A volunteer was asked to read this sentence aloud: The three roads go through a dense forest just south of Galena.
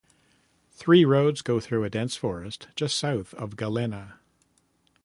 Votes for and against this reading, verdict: 0, 2, rejected